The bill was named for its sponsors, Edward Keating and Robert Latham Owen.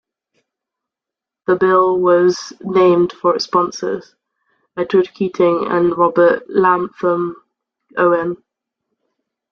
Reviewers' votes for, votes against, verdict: 1, 2, rejected